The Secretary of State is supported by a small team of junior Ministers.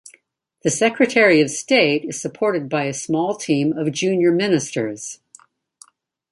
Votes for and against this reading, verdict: 2, 0, accepted